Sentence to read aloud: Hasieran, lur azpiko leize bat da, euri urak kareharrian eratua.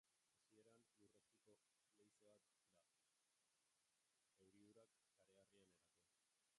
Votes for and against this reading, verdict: 1, 2, rejected